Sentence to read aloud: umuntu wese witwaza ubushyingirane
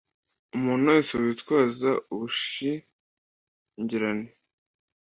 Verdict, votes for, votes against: accepted, 2, 0